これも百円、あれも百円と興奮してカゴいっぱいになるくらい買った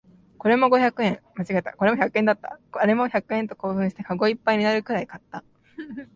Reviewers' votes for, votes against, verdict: 1, 4, rejected